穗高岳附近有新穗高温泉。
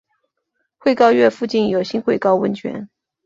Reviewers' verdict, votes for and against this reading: rejected, 2, 2